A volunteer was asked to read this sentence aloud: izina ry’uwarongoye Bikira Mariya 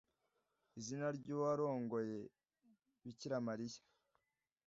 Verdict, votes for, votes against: accepted, 2, 0